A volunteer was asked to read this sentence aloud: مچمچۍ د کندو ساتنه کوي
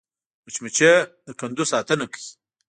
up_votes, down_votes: 2, 0